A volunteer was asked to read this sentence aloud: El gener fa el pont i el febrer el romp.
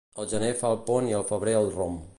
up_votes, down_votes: 2, 0